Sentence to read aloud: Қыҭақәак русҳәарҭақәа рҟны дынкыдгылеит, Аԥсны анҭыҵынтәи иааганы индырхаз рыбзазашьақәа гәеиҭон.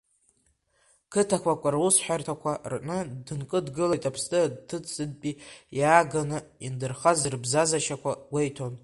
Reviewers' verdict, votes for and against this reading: rejected, 0, 2